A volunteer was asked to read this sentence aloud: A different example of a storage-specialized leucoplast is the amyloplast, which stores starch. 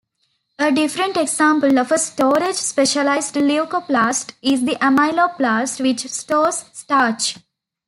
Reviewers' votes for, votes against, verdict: 2, 1, accepted